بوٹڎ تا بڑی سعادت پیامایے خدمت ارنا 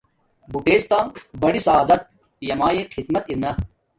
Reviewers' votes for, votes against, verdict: 2, 0, accepted